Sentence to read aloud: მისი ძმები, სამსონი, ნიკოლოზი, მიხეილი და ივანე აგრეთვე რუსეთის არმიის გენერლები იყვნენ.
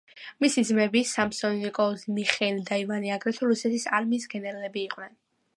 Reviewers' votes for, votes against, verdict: 2, 0, accepted